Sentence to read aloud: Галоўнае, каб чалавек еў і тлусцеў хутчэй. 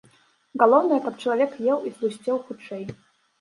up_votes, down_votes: 2, 1